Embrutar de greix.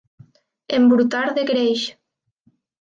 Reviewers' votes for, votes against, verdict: 2, 0, accepted